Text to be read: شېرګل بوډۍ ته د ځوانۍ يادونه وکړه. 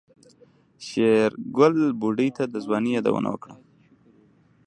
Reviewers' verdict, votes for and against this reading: rejected, 1, 2